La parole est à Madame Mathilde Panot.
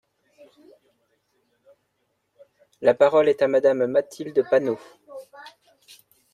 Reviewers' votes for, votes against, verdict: 0, 2, rejected